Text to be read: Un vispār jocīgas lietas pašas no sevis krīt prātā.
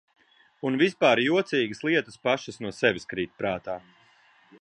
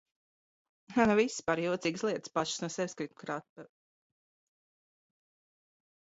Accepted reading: first